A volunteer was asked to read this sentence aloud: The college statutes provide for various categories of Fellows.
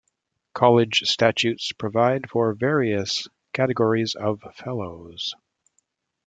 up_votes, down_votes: 1, 2